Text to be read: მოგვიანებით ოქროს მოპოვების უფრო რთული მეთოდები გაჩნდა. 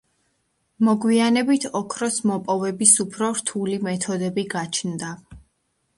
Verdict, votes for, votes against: accepted, 2, 0